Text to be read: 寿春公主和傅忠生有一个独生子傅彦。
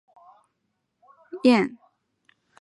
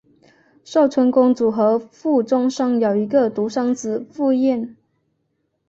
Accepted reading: second